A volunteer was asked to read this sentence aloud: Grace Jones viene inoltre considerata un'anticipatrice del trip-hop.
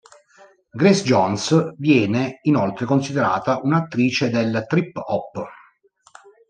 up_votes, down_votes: 1, 2